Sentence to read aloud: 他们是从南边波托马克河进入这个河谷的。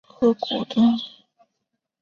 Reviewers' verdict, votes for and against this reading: rejected, 2, 3